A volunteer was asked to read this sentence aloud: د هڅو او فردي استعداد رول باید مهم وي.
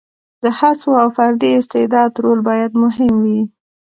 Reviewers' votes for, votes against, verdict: 2, 0, accepted